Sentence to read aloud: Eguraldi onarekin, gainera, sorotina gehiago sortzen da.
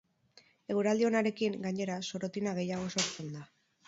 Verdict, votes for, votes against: rejected, 2, 2